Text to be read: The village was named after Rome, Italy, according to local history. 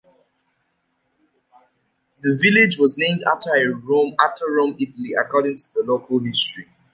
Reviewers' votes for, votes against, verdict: 0, 2, rejected